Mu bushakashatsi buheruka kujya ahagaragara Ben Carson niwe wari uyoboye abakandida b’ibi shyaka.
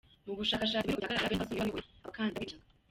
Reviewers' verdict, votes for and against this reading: rejected, 0, 2